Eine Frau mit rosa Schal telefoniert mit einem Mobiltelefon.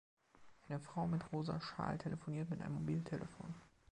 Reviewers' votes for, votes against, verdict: 1, 2, rejected